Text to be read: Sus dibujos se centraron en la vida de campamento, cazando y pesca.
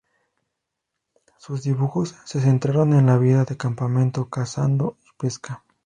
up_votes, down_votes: 0, 2